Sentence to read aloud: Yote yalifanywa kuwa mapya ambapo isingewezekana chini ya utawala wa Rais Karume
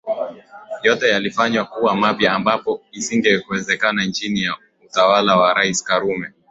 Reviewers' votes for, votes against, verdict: 2, 1, accepted